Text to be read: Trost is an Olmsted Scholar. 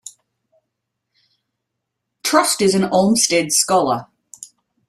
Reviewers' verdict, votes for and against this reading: accepted, 2, 0